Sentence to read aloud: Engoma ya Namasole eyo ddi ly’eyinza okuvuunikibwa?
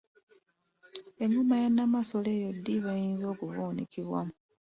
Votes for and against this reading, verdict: 2, 1, accepted